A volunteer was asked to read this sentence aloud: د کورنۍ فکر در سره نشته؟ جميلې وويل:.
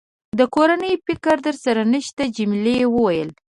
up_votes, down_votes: 2, 0